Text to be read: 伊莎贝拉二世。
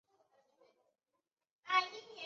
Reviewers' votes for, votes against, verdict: 1, 3, rejected